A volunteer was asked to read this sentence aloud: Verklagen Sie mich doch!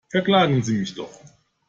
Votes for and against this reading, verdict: 2, 0, accepted